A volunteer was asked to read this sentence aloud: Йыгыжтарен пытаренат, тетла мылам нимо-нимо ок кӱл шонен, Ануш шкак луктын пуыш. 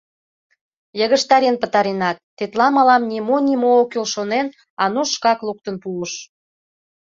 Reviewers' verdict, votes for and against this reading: accepted, 2, 0